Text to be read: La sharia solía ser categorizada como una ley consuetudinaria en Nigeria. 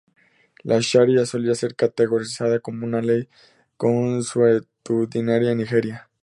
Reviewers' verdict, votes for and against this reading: rejected, 0, 2